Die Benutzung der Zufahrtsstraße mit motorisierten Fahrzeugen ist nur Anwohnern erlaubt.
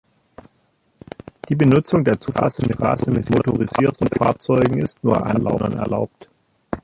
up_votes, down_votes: 0, 3